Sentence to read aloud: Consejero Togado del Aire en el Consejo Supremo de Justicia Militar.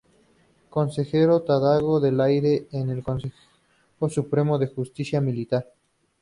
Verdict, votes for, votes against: rejected, 0, 4